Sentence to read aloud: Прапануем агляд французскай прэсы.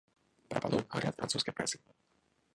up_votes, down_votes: 1, 3